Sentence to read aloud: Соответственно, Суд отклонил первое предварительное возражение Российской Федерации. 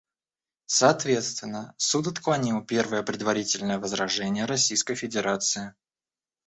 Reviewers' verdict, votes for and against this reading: accepted, 2, 0